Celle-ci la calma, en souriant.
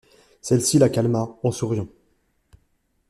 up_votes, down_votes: 2, 0